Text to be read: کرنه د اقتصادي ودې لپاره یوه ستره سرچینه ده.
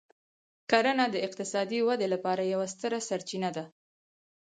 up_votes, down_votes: 4, 2